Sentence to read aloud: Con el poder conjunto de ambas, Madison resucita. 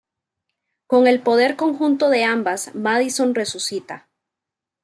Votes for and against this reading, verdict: 2, 0, accepted